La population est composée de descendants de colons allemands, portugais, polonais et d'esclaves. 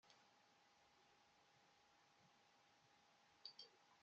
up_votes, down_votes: 0, 2